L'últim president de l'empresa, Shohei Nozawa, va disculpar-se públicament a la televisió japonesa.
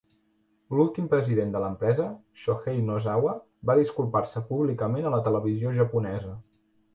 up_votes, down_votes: 2, 0